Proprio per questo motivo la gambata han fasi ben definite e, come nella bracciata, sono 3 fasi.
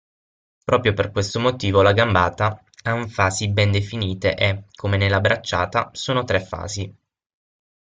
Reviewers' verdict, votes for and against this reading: rejected, 0, 2